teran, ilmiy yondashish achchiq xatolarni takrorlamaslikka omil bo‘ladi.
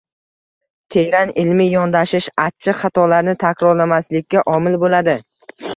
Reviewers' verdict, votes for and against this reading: rejected, 1, 2